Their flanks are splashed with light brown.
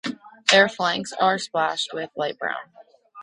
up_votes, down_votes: 0, 2